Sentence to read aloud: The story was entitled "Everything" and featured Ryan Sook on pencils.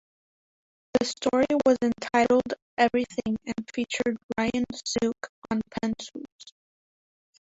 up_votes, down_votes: 2, 1